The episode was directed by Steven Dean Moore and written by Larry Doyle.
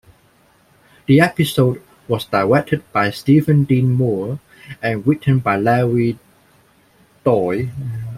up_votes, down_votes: 2, 1